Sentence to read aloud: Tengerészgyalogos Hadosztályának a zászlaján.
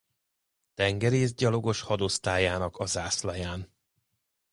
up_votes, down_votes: 2, 0